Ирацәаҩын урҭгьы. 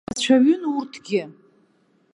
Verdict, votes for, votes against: rejected, 1, 2